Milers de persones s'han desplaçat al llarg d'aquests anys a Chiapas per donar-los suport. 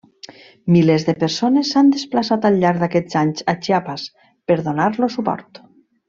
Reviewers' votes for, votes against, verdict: 2, 0, accepted